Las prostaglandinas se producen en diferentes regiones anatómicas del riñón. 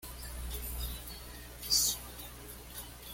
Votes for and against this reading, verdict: 1, 2, rejected